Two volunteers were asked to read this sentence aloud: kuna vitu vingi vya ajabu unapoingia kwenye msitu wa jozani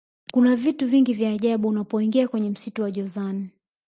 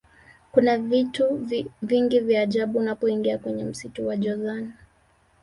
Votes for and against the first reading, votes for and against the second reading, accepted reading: 2, 0, 1, 2, first